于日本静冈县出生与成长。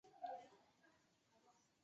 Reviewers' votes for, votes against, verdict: 3, 0, accepted